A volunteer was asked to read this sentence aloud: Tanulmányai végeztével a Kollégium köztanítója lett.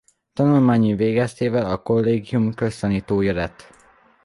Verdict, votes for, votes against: accepted, 2, 1